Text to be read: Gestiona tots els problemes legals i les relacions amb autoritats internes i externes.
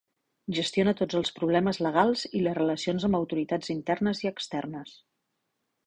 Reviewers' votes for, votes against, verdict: 3, 0, accepted